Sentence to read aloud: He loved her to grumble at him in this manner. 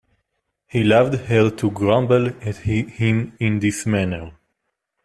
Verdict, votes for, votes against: rejected, 0, 2